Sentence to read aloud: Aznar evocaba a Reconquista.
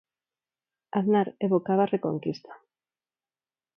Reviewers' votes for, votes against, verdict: 4, 0, accepted